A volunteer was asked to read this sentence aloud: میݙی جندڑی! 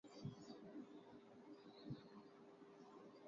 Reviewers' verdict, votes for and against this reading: rejected, 0, 2